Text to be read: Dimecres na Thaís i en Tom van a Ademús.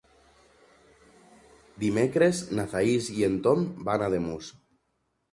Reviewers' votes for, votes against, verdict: 3, 0, accepted